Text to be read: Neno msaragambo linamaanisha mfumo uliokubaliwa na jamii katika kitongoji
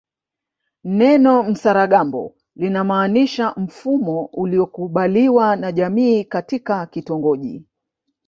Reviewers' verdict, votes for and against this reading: accepted, 2, 1